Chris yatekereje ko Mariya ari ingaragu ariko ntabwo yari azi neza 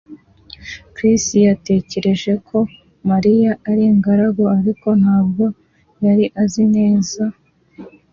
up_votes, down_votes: 2, 0